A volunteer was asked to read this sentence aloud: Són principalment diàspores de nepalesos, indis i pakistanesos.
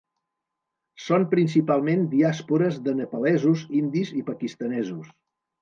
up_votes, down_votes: 2, 0